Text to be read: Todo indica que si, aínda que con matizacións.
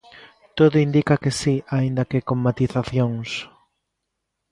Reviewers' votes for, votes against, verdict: 2, 0, accepted